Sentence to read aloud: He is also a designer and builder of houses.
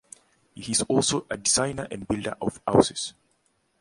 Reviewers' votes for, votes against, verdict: 2, 0, accepted